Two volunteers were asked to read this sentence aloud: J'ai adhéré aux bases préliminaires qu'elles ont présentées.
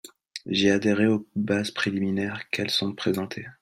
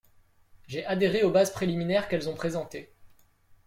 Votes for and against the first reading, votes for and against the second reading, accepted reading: 0, 2, 2, 0, second